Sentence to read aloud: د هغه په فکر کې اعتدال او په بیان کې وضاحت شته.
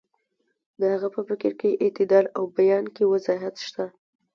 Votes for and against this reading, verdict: 2, 0, accepted